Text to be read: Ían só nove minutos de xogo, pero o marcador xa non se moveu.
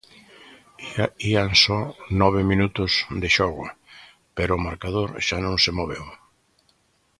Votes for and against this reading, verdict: 0, 2, rejected